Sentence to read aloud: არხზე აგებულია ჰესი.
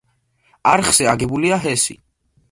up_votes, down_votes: 2, 0